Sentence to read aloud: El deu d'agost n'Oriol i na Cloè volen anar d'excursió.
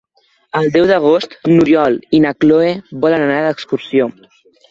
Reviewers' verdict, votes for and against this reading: accepted, 3, 0